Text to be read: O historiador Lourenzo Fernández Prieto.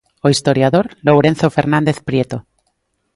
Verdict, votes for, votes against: accepted, 2, 0